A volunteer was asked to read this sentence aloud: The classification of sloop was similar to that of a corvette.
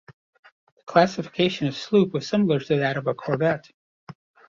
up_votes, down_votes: 0, 2